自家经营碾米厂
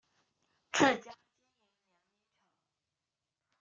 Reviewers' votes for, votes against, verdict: 0, 2, rejected